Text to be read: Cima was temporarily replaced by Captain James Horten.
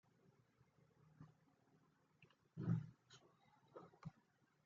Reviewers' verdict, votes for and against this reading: rejected, 0, 2